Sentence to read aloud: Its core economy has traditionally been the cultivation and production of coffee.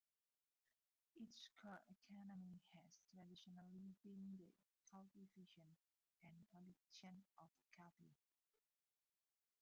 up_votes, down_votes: 0, 2